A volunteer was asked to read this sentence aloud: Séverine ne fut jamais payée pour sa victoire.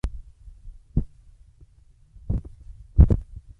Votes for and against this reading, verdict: 0, 2, rejected